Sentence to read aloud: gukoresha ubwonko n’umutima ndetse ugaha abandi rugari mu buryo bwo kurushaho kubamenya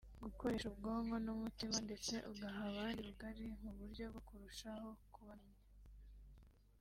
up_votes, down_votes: 3, 0